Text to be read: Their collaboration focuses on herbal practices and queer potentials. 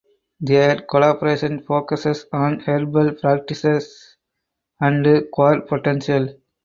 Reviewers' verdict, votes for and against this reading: accepted, 4, 2